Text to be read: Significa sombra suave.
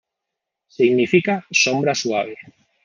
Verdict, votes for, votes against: accepted, 2, 0